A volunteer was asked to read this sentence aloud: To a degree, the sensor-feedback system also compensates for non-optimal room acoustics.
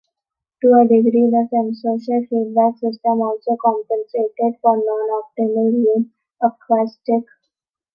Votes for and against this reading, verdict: 0, 2, rejected